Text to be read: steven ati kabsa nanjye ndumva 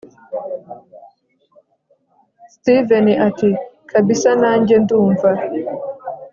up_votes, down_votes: 0, 2